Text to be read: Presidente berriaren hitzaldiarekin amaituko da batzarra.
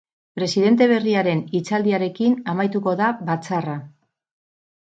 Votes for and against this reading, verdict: 4, 0, accepted